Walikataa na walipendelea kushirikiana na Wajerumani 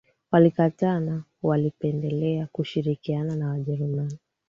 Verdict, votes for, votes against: accepted, 2, 0